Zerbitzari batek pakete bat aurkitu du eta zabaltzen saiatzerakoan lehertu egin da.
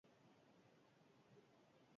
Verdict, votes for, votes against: rejected, 0, 4